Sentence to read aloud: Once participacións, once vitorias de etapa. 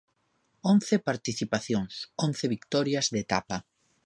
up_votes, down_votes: 2, 0